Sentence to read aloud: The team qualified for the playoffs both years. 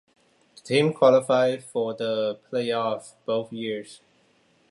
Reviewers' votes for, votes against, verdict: 2, 0, accepted